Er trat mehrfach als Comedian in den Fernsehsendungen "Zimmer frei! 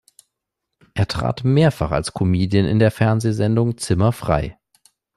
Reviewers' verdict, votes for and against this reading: rejected, 0, 2